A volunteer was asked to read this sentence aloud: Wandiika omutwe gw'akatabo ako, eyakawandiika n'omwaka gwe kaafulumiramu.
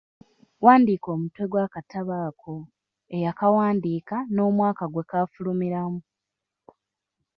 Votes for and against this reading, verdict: 1, 2, rejected